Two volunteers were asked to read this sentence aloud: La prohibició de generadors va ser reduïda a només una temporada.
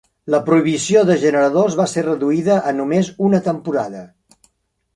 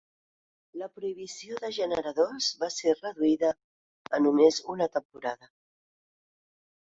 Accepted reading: first